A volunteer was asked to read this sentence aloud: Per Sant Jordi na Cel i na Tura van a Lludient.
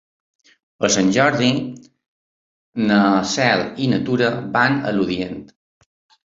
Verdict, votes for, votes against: accepted, 2, 1